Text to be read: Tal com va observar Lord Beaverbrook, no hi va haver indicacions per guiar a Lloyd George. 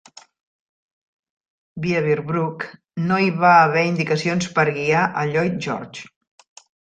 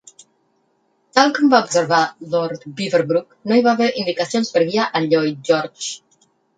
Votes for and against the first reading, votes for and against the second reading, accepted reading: 0, 2, 4, 0, second